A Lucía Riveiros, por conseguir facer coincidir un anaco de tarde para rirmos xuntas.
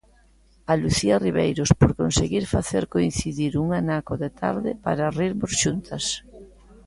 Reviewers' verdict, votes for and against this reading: accepted, 2, 0